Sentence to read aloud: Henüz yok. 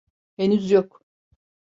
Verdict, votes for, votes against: accepted, 3, 0